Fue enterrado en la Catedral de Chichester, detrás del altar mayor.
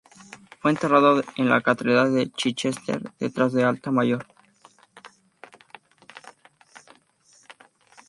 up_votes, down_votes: 0, 2